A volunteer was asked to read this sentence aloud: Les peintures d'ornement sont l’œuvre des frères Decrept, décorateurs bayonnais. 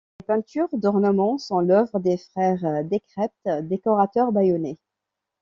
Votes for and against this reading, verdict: 2, 0, accepted